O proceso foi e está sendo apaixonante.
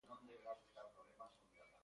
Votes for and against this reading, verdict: 0, 2, rejected